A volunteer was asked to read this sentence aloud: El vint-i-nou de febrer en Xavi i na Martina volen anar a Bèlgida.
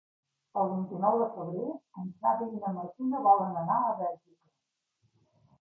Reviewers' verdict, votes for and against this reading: rejected, 1, 2